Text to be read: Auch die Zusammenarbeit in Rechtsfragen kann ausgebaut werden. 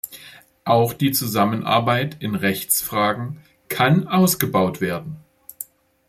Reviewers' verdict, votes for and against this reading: accepted, 2, 0